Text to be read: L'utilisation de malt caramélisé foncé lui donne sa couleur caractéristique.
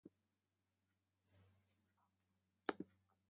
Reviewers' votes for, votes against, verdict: 0, 2, rejected